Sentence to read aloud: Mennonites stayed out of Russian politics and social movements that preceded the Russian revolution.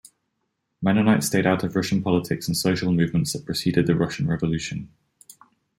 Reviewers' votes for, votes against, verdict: 2, 0, accepted